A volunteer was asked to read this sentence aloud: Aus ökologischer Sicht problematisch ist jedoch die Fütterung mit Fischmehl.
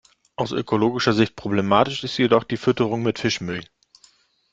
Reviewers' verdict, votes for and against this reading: accepted, 2, 0